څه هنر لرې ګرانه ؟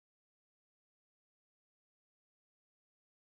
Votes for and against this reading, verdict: 1, 2, rejected